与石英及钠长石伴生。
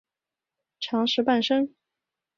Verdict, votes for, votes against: rejected, 0, 2